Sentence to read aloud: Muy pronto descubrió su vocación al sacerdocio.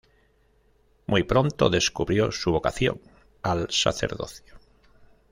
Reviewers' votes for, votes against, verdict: 1, 2, rejected